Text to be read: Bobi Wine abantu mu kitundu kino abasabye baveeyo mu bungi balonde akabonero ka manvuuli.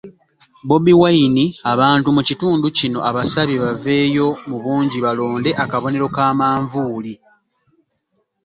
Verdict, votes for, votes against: accepted, 2, 0